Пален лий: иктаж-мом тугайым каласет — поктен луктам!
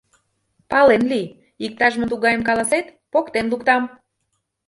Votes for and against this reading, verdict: 1, 2, rejected